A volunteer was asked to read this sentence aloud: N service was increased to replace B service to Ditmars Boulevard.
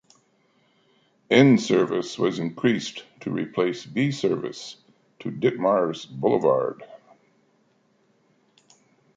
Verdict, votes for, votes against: accepted, 2, 0